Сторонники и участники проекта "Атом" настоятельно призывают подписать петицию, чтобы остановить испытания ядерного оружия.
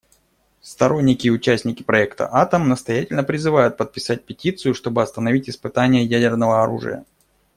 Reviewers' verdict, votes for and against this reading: accepted, 2, 0